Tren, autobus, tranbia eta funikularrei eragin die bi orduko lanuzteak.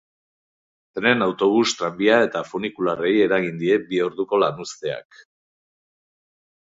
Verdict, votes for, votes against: rejected, 0, 2